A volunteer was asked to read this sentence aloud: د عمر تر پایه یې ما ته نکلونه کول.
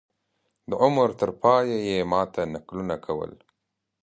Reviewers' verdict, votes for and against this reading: accepted, 2, 0